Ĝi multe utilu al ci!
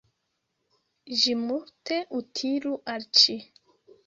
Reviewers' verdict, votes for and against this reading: rejected, 1, 2